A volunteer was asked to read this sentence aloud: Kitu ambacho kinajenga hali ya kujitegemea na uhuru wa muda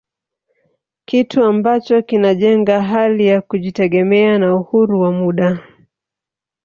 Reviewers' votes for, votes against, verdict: 0, 2, rejected